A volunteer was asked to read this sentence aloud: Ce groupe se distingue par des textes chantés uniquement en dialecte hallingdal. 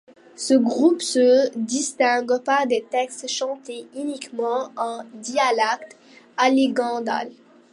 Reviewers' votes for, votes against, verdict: 0, 2, rejected